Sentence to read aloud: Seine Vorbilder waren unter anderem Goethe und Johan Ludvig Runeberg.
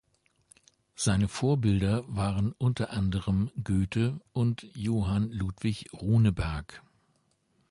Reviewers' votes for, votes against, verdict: 2, 0, accepted